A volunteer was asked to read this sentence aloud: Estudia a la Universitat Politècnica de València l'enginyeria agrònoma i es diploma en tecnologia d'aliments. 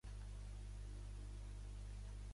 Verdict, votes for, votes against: rejected, 0, 2